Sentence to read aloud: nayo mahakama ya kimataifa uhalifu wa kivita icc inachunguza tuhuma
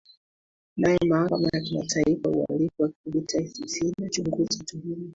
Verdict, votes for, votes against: accepted, 2, 1